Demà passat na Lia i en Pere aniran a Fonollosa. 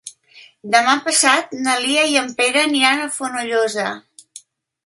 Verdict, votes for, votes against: accepted, 4, 0